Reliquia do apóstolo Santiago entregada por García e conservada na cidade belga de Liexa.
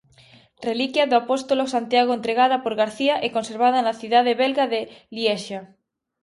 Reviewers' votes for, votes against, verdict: 2, 0, accepted